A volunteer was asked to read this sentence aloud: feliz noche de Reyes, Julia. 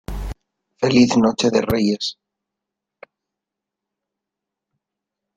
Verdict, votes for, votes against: rejected, 0, 2